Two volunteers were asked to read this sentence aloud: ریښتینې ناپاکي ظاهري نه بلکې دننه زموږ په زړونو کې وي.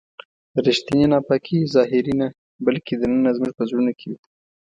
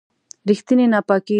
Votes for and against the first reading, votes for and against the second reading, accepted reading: 2, 0, 0, 2, first